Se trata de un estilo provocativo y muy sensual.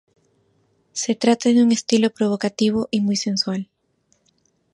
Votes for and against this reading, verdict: 0, 2, rejected